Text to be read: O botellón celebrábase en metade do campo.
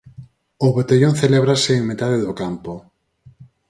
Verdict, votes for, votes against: rejected, 0, 4